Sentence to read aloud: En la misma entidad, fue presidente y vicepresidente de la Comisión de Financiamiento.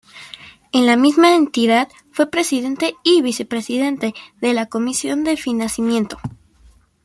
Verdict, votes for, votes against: rejected, 1, 2